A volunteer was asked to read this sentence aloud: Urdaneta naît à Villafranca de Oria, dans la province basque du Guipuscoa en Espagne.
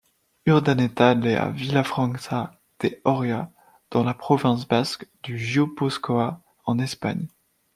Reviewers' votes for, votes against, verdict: 1, 2, rejected